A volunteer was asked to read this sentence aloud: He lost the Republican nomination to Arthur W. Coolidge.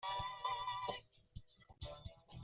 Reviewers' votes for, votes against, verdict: 0, 2, rejected